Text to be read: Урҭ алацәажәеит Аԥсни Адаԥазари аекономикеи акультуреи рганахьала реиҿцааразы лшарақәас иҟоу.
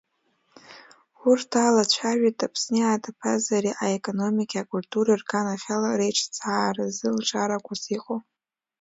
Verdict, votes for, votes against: rejected, 1, 2